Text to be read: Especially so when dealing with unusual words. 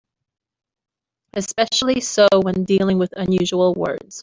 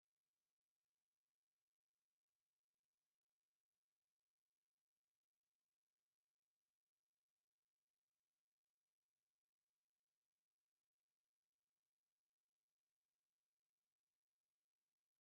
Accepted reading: first